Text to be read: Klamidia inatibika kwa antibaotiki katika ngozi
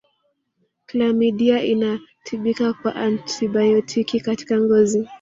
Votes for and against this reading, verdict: 1, 2, rejected